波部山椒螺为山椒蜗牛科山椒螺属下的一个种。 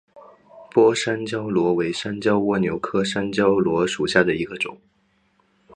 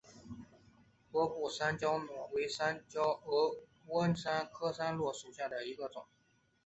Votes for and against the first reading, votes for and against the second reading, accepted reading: 2, 0, 2, 3, first